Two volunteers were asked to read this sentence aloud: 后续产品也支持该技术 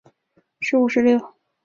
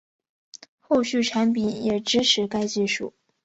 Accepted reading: second